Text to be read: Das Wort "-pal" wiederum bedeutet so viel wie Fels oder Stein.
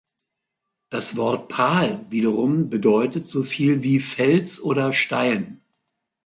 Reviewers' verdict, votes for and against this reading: accepted, 3, 0